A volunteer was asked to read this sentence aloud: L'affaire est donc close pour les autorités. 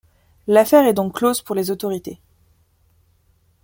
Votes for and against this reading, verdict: 2, 0, accepted